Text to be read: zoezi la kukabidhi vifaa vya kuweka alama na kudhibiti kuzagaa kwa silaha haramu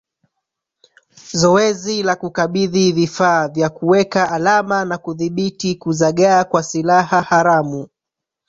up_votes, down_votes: 0, 2